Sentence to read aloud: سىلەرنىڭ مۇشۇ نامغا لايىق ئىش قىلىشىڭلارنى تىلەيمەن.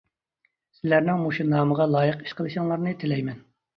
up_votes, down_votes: 2, 0